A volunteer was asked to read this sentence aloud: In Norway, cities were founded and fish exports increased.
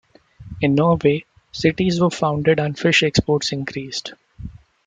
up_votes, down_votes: 2, 1